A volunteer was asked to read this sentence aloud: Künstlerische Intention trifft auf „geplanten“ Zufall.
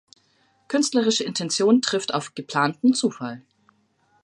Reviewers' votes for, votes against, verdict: 2, 0, accepted